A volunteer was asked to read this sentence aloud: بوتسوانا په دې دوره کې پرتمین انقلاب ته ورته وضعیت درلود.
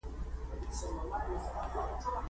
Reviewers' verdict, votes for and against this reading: rejected, 0, 2